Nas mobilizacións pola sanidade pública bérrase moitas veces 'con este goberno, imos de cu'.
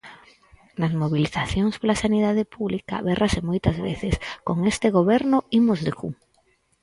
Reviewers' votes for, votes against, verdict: 4, 0, accepted